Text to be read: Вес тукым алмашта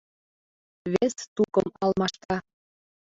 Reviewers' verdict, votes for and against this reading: rejected, 0, 2